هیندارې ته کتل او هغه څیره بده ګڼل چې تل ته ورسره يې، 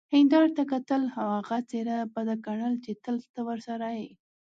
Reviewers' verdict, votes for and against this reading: accepted, 2, 0